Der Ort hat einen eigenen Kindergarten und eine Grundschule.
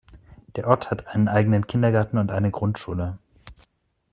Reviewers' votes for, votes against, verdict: 2, 0, accepted